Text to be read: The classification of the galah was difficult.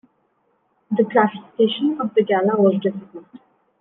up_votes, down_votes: 2, 0